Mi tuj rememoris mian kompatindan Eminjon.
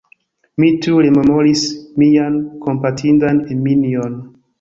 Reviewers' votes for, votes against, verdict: 1, 2, rejected